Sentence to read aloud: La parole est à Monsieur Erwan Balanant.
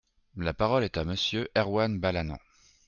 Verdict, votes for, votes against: accepted, 2, 0